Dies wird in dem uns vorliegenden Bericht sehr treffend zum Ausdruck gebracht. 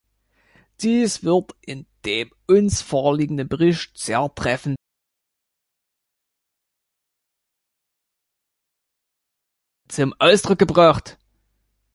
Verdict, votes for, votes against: rejected, 0, 2